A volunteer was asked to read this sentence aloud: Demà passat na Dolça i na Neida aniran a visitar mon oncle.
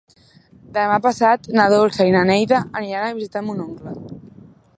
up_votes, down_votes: 3, 1